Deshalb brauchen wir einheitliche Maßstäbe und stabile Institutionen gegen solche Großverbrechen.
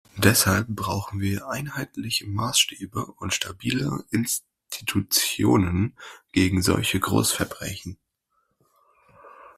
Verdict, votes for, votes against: accepted, 2, 0